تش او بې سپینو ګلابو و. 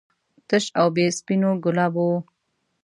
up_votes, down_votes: 1, 2